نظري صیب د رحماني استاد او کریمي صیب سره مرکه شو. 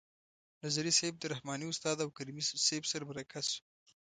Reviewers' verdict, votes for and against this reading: accepted, 2, 0